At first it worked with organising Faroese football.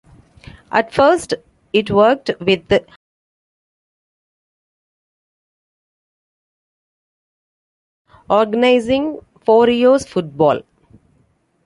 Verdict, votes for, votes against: rejected, 0, 2